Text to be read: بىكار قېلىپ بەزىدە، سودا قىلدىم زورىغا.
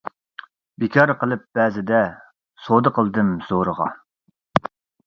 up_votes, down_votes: 2, 0